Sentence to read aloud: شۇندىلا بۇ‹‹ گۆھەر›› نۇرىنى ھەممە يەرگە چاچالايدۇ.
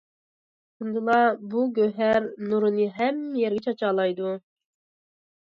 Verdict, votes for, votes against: accepted, 2, 1